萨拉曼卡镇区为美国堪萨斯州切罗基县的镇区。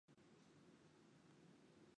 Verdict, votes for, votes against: rejected, 0, 2